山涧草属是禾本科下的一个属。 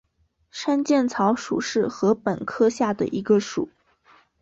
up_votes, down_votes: 7, 2